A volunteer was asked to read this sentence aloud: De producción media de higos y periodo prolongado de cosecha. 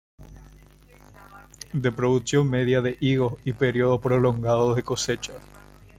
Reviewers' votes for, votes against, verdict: 1, 2, rejected